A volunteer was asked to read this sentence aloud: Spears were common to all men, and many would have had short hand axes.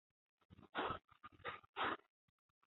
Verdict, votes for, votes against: rejected, 0, 3